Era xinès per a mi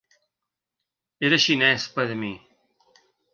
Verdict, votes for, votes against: accepted, 2, 0